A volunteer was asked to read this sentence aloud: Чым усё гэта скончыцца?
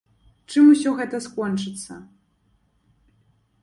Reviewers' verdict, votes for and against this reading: accepted, 2, 0